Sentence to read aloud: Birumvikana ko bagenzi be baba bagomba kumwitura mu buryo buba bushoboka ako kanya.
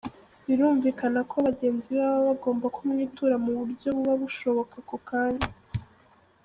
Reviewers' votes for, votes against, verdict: 1, 2, rejected